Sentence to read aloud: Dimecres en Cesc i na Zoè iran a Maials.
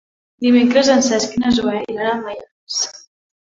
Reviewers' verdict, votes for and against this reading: rejected, 1, 2